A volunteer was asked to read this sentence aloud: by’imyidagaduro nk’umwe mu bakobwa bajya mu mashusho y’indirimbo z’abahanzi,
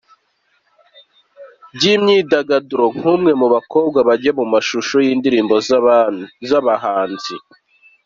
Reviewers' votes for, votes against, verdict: 2, 1, accepted